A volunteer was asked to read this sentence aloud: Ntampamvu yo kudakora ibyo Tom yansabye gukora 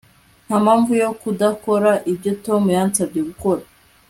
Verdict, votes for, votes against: accepted, 2, 0